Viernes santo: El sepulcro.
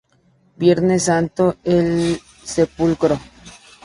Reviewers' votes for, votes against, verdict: 2, 0, accepted